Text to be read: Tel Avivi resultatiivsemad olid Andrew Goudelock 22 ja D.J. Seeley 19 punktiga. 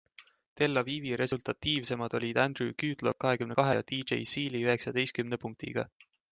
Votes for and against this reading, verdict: 0, 2, rejected